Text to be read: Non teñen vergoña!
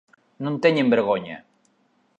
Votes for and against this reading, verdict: 2, 0, accepted